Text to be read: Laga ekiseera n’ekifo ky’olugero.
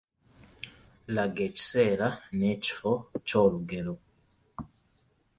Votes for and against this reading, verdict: 3, 2, accepted